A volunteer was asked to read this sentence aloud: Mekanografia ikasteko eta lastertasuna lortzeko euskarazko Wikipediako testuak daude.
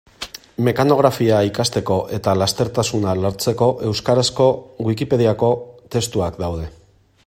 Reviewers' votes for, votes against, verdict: 2, 0, accepted